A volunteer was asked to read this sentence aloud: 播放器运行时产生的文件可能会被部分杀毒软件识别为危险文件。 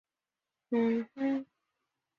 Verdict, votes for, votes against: rejected, 1, 5